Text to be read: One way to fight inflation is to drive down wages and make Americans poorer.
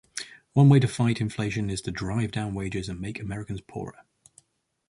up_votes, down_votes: 4, 0